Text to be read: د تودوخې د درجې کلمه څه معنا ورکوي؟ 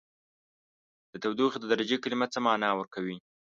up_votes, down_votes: 2, 0